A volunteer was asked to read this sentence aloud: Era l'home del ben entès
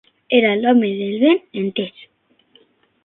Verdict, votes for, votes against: rejected, 0, 6